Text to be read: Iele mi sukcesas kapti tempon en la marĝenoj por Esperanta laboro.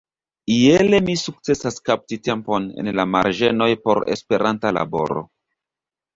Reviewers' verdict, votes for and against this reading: accepted, 2, 0